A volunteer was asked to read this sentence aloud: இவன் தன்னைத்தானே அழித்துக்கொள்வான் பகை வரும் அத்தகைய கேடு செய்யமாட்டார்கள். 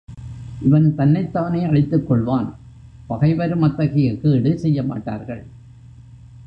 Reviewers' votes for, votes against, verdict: 1, 2, rejected